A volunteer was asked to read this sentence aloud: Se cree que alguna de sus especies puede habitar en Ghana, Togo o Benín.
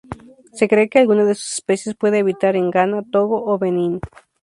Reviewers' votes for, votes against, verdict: 2, 0, accepted